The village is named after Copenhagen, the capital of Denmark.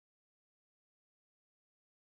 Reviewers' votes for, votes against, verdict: 0, 2, rejected